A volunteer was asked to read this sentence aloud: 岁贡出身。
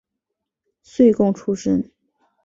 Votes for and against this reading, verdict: 7, 0, accepted